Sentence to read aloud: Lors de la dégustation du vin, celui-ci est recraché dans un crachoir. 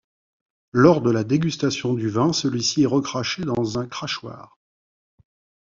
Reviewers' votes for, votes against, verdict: 2, 0, accepted